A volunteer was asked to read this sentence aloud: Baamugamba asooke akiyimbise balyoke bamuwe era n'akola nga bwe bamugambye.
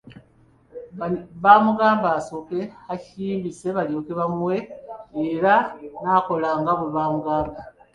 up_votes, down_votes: 1, 2